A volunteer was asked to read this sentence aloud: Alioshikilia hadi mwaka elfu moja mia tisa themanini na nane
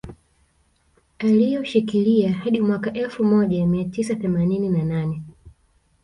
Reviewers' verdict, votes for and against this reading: rejected, 1, 2